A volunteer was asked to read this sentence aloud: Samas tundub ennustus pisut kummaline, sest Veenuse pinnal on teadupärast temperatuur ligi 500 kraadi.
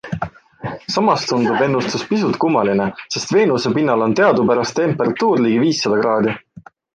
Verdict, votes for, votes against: rejected, 0, 2